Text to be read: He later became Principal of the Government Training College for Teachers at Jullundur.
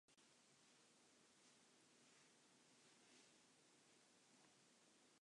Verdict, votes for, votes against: rejected, 0, 2